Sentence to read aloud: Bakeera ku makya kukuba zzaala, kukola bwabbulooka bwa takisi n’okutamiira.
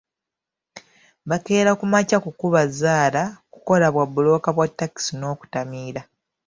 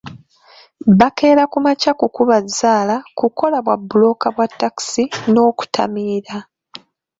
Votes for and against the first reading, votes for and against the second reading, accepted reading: 2, 0, 0, 2, first